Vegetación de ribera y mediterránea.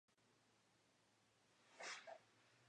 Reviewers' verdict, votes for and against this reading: rejected, 0, 2